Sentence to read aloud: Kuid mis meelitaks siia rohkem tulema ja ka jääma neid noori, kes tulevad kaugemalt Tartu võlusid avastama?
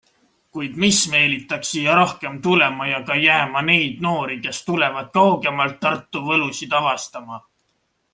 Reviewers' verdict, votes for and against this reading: accepted, 2, 0